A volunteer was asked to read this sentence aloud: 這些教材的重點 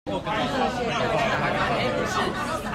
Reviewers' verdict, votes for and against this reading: rejected, 1, 2